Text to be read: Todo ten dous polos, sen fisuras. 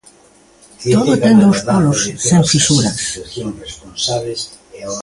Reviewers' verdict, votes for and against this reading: rejected, 0, 2